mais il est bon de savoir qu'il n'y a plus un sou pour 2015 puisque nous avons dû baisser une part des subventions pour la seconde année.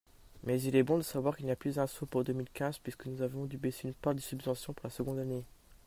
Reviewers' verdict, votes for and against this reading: rejected, 0, 2